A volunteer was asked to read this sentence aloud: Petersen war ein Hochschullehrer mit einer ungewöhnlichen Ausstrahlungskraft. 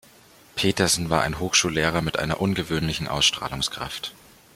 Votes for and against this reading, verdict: 2, 0, accepted